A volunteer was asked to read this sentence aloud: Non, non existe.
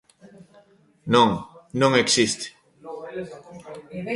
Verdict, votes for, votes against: accepted, 2, 1